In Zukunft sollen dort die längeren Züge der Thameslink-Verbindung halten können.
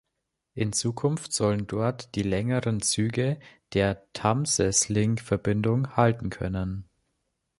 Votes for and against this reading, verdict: 0, 2, rejected